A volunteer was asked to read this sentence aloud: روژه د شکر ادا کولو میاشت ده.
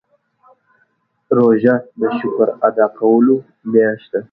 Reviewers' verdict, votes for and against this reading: accepted, 2, 0